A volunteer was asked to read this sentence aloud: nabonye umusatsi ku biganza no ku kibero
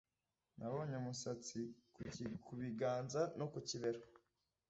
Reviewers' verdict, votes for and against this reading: rejected, 1, 2